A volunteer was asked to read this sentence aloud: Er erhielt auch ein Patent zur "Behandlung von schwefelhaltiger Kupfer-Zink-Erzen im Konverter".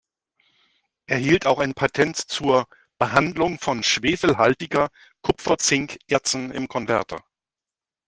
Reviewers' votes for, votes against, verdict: 0, 2, rejected